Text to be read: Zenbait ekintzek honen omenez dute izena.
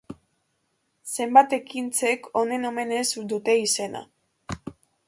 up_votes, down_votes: 1, 2